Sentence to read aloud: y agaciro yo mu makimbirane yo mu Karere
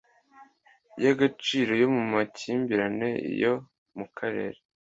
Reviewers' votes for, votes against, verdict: 2, 0, accepted